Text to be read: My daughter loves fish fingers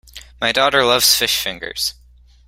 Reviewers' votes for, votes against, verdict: 2, 0, accepted